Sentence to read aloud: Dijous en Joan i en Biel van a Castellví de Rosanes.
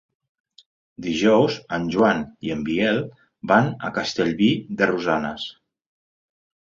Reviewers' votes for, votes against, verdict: 2, 0, accepted